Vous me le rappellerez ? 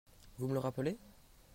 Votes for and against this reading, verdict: 1, 2, rejected